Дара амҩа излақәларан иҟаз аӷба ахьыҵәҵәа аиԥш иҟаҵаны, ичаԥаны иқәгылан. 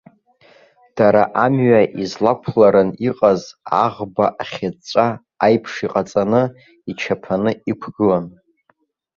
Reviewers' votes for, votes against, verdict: 2, 1, accepted